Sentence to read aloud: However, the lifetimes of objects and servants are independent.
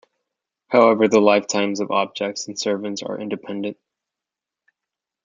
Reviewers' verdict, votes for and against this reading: accepted, 2, 0